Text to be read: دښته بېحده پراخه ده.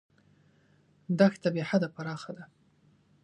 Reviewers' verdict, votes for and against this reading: accepted, 2, 0